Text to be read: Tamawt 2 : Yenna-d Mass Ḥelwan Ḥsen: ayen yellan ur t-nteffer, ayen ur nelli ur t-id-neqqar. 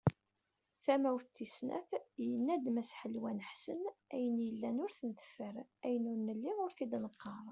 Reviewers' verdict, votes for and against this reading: rejected, 0, 2